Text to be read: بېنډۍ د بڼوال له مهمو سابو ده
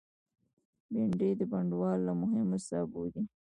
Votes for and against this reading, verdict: 1, 2, rejected